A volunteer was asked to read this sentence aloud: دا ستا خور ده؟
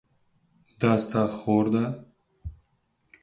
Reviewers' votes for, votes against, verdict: 4, 0, accepted